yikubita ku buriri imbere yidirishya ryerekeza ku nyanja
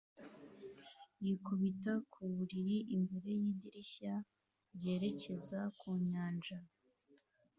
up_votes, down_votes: 2, 0